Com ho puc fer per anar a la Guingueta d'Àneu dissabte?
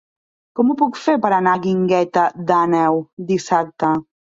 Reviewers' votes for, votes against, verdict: 1, 2, rejected